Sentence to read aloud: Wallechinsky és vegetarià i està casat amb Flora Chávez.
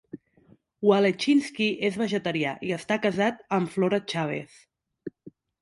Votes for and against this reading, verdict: 2, 0, accepted